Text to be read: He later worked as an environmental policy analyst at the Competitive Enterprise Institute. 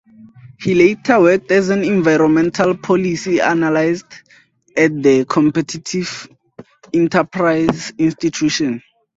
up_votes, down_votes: 2, 0